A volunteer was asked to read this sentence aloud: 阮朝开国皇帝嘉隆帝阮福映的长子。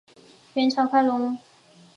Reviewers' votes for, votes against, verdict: 0, 5, rejected